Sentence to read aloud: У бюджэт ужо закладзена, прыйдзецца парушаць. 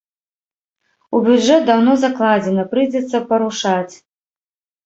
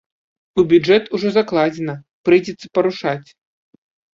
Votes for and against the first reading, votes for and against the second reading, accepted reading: 1, 2, 2, 0, second